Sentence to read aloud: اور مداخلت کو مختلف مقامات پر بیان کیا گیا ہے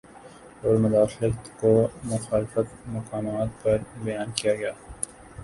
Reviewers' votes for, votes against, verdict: 0, 2, rejected